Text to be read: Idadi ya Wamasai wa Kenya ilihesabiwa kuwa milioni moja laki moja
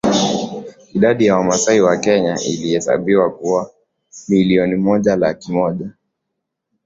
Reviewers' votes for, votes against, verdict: 0, 2, rejected